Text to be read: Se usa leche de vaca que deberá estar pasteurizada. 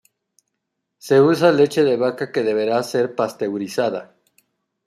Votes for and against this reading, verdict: 1, 2, rejected